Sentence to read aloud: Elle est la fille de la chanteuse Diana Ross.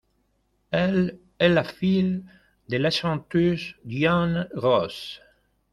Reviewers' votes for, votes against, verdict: 1, 2, rejected